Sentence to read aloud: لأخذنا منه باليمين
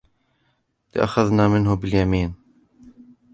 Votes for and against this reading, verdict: 2, 0, accepted